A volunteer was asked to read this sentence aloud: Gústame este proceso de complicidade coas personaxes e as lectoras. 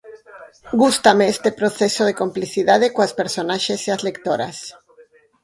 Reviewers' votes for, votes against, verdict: 2, 2, rejected